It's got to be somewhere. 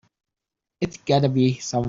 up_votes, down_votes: 0, 3